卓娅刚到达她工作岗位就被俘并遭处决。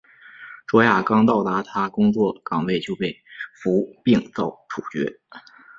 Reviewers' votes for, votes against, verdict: 1, 2, rejected